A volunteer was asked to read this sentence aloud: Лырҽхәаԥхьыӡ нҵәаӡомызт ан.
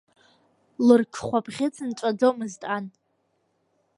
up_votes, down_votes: 1, 2